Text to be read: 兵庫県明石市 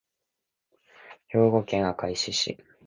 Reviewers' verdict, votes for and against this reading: rejected, 1, 2